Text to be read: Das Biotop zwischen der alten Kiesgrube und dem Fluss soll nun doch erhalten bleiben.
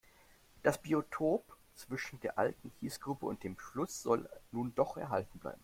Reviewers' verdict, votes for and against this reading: accepted, 2, 0